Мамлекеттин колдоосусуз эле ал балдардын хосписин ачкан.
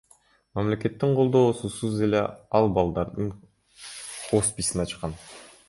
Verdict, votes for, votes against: accepted, 2, 0